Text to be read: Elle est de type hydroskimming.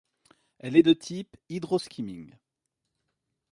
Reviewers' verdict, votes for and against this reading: accepted, 2, 0